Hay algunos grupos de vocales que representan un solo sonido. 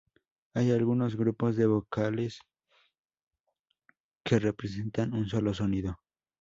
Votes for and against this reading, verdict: 2, 0, accepted